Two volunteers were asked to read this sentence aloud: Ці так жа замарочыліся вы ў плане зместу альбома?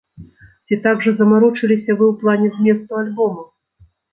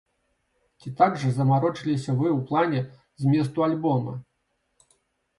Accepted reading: second